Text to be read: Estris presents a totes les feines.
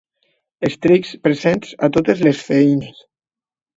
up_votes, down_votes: 0, 2